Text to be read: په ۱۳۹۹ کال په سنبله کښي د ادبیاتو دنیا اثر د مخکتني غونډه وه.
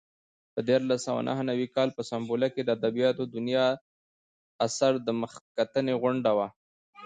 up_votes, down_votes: 0, 2